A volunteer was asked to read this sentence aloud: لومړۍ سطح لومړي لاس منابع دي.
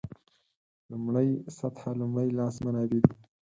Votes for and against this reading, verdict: 4, 2, accepted